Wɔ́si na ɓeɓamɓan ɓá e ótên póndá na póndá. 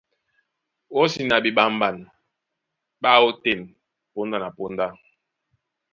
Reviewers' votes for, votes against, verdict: 1, 2, rejected